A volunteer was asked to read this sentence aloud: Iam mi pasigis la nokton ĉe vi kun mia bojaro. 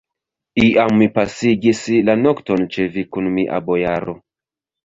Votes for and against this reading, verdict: 2, 3, rejected